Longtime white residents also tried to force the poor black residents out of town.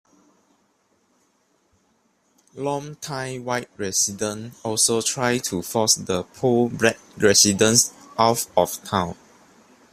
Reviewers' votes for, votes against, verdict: 2, 0, accepted